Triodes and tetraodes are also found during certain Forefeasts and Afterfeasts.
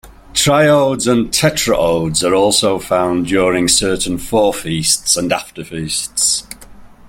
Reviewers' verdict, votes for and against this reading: accepted, 2, 0